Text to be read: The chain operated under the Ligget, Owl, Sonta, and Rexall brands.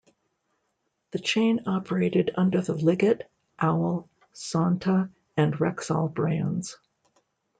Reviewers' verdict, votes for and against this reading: accepted, 2, 0